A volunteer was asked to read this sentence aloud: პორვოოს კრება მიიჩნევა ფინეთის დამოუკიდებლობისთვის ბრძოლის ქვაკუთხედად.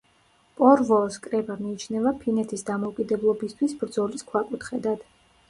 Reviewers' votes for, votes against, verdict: 2, 0, accepted